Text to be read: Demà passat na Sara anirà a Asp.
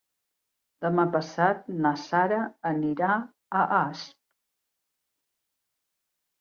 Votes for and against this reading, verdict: 2, 0, accepted